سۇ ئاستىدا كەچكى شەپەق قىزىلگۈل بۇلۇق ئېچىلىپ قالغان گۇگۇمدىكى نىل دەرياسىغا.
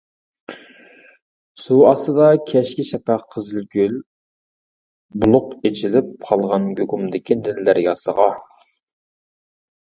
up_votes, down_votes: 0, 2